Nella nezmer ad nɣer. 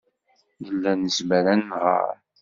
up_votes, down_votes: 2, 0